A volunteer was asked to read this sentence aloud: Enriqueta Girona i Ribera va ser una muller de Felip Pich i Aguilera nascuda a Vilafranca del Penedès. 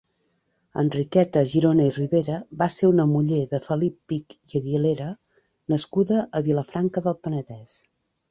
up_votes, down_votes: 2, 0